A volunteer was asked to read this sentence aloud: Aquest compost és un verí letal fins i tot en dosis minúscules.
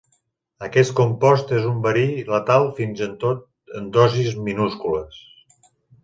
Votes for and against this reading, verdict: 0, 2, rejected